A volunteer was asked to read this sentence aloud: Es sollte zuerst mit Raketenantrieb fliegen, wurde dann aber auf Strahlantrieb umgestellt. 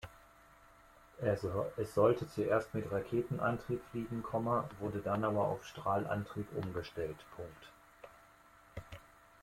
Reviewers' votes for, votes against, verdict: 2, 1, accepted